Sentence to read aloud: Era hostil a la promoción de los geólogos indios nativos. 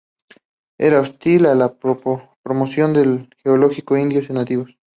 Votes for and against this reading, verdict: 0, 2, rejected